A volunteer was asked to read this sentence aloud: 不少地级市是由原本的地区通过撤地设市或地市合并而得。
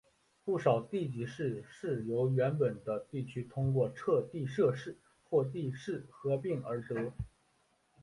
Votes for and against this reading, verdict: 2, 1, accepted